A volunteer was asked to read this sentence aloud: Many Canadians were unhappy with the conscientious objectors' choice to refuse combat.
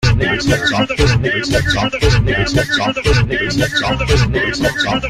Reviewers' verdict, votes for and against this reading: rejected, 0, 2